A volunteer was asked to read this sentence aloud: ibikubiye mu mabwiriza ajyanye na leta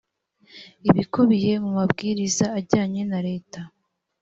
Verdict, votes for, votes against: accepted, 2, 0